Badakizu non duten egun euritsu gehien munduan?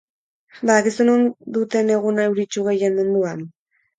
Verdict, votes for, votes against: rejected, 2, 4